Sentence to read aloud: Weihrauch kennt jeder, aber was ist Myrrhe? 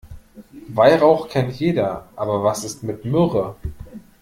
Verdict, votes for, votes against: rejected, 0, 2